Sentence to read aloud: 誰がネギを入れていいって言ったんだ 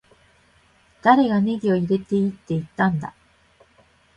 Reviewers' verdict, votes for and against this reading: accepted, 2, 0